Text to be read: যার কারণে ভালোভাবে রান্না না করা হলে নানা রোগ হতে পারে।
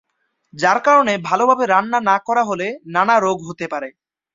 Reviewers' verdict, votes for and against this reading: accepted, 2, 0